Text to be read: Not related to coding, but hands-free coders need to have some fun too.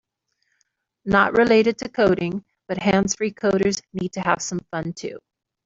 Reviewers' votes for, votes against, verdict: 1, 2, rejected